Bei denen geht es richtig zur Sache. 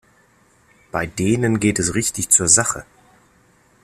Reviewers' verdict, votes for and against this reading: accepted, 2, 0